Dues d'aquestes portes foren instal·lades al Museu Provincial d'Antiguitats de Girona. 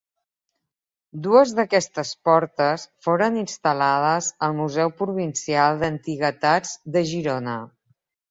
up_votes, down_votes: 1, 2